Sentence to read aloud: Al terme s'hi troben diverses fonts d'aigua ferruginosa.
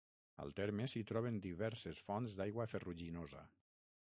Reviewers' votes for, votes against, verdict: 3, 6, rejected